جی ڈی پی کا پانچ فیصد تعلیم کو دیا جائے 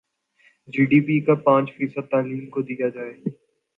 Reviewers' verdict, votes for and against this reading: accepted, 2, 1